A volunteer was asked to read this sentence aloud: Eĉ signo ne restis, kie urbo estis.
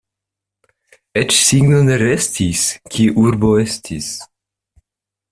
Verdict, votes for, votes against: rejected, 1, 2